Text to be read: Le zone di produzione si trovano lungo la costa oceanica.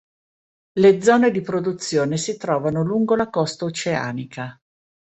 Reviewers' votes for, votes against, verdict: 3, 0, accepted